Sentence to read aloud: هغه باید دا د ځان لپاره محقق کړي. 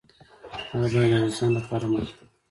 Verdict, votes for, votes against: rejected, 0, 2